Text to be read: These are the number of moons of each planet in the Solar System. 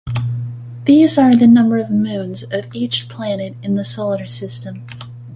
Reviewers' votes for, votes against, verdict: 0, 2, rejected